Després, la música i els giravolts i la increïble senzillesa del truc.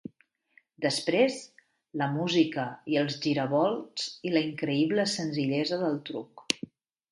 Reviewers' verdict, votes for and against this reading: accepted, 3, 0